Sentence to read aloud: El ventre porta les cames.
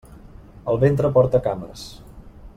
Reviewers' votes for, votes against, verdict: 0, 2, rejected